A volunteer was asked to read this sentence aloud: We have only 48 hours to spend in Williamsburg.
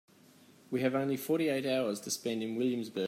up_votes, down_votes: 0, 2